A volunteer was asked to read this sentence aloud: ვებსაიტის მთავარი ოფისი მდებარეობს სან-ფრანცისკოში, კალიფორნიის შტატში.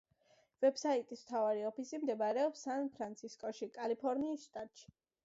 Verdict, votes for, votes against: accepted, 2, 0